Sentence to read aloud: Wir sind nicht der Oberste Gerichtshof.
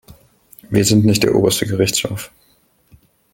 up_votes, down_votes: 2, 0